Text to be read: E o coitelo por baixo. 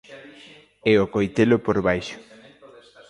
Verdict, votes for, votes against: rejected, 0, 2